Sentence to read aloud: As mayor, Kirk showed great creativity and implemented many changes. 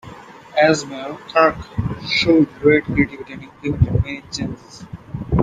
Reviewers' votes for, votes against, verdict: 0, 2, rejected